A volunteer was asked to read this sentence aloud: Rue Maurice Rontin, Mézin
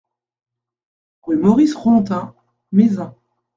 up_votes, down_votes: 2, 0